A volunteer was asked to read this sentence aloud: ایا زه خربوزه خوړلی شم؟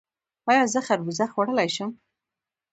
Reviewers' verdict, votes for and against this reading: rejected, 1, 2